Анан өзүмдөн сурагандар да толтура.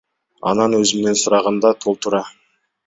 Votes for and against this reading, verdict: 0, 2, rejected